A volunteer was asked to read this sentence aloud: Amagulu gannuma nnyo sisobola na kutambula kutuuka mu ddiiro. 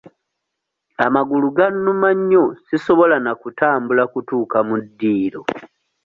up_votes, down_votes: 2, 0